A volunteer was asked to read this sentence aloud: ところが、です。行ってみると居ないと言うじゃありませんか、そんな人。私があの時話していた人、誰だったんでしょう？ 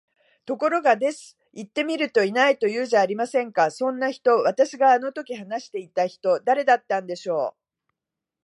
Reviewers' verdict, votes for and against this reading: accepted, 2, 0